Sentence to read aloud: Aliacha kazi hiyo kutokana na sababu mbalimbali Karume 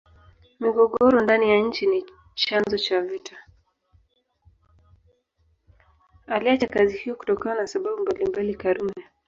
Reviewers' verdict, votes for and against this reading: rejected, 1, 2